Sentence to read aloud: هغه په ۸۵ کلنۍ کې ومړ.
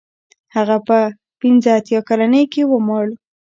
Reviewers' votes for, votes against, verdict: 0, 2, rejected